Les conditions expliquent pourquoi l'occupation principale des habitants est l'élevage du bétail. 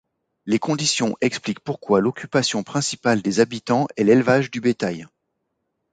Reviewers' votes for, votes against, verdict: 2, 0, accepted